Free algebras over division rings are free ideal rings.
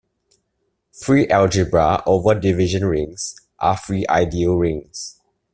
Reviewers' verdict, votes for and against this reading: rejected, 1, 2